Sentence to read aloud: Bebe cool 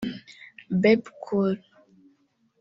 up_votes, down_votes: 1, 2